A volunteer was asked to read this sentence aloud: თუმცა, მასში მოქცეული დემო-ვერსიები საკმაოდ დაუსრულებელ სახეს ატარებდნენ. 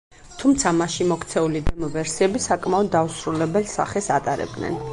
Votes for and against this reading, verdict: 2, 4, rejected